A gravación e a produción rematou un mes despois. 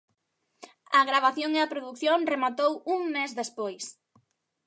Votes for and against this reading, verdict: 3, 0, accepted